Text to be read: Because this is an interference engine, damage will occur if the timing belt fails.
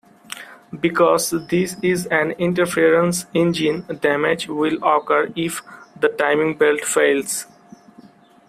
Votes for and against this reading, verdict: 2, 0, accepted